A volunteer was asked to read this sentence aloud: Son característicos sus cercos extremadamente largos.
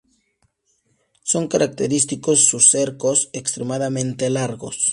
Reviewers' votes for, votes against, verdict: 2, 0, accepted